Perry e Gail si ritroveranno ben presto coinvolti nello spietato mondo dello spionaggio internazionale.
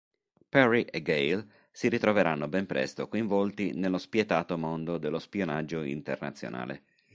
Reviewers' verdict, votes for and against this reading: accepted, 3, 0